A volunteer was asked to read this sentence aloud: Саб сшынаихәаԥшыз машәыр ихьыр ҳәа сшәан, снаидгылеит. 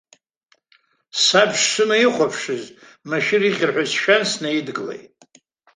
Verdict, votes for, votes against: accepted, 2, 0